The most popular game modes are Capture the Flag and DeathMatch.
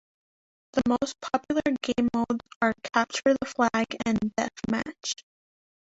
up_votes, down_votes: 2, 0